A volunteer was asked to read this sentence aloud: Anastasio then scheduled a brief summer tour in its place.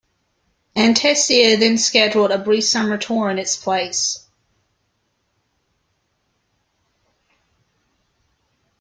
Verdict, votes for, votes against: rejected, 0, 2